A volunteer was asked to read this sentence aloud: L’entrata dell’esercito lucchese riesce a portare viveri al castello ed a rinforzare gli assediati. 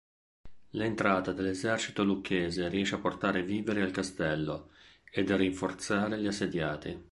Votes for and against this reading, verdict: 2, 0, accepted